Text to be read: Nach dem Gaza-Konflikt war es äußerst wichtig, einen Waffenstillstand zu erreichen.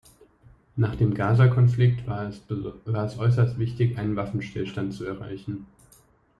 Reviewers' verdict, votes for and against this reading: rejected, 1, 2